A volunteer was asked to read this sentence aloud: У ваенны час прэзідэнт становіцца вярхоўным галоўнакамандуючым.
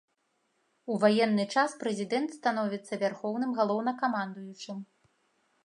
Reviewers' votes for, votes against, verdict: 0, 2, rejected